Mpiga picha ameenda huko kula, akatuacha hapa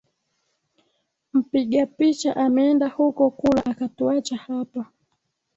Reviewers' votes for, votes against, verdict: 2, 0, accepted